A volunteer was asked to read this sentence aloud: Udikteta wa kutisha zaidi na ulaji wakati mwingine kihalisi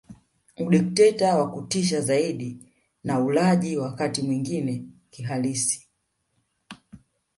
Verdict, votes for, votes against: accepted, 2, 0